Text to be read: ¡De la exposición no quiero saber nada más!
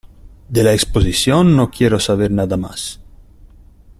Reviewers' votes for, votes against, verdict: 0, 3, rejected